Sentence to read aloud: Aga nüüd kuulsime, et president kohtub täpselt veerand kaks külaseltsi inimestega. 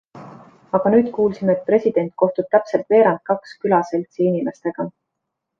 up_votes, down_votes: 2, 0